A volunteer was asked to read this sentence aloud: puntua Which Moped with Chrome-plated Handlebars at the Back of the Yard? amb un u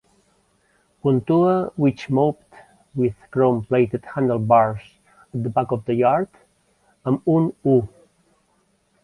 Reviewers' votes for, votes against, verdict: 0, 2, rejected